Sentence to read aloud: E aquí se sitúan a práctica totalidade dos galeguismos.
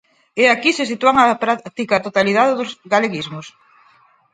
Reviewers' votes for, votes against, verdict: 2, 4, rejected